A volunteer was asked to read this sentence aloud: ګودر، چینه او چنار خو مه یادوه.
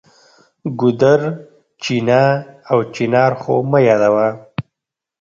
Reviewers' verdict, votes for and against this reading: rejected, 1, 2